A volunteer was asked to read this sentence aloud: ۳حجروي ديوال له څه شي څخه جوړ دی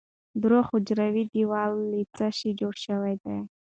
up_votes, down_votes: 0, 2